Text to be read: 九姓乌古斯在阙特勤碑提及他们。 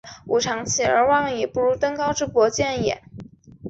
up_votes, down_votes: 0, 3